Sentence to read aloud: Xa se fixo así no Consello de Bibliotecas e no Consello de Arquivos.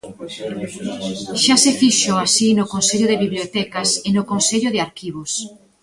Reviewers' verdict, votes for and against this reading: rejected, 1, 2